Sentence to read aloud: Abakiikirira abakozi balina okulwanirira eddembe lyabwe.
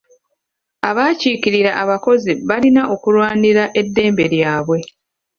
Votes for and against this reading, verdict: 1, 2, rejected